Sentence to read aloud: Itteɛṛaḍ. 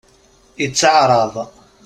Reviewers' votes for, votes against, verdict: 2, 0, accepted